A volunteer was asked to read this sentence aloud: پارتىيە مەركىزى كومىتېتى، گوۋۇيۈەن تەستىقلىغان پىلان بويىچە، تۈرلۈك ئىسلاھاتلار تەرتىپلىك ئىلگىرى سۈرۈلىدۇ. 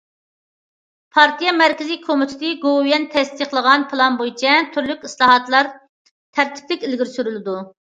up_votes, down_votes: 2, 0